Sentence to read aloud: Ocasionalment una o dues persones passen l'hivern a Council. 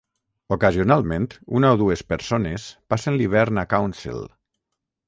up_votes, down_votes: 6, 0